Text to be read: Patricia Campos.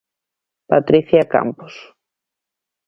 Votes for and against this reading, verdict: 2, 0, accepted